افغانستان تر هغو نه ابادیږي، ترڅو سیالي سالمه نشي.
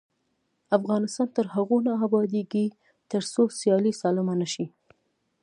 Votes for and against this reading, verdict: 1, 2, rejected